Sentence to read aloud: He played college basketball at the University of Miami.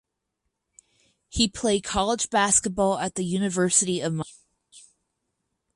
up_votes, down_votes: 0, 4